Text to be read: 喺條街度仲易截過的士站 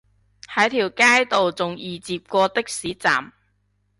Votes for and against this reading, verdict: 2, 0, accepted